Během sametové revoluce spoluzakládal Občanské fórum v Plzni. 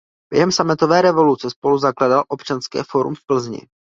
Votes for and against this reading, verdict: 2, 0, accepted